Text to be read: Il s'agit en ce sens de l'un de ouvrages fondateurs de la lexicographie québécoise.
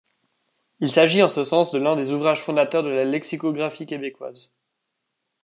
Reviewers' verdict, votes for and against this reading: rejected, 1, 2